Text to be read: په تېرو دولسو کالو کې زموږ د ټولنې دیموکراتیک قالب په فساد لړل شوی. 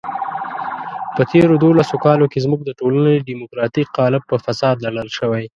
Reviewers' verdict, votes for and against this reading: rejected, 0, 2